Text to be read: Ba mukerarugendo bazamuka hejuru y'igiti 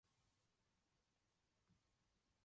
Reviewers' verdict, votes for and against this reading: rejected, 0, 2